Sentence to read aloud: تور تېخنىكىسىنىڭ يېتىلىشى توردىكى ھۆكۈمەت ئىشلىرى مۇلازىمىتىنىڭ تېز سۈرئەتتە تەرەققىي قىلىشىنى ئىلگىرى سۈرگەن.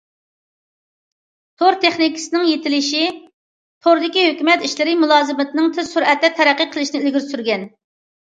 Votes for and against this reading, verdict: 2, 0, accepted